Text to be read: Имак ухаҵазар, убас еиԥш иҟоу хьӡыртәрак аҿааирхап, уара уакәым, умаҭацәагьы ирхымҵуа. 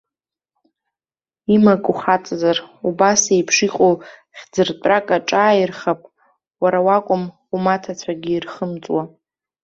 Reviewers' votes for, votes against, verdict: 2, 1, accepted